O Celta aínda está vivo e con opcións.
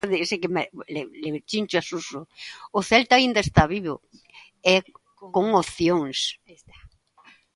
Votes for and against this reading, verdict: 0, 2, rejected